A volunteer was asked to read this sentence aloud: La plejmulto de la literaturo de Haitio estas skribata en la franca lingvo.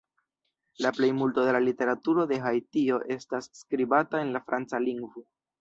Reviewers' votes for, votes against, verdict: 0, 2, rejected